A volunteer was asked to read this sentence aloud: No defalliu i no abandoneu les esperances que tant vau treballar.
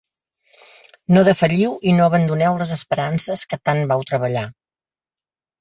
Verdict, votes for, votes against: accepted, 2, 0